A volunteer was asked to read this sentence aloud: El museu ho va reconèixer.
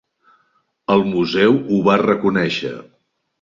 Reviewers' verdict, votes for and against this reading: accepted, 3, 0